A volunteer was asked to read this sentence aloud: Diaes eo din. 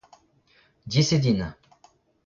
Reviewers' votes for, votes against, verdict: 0, 2, rejected